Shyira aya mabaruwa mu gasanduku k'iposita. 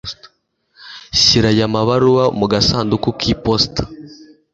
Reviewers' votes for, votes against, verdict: 2, 0, accepted